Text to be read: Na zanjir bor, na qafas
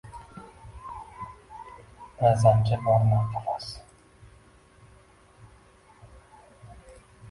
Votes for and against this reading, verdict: 0, 2, rejected